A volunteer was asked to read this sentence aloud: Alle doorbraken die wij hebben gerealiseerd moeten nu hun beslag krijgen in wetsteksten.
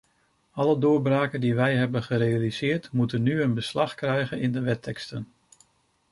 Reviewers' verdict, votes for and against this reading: rejected, 0, 2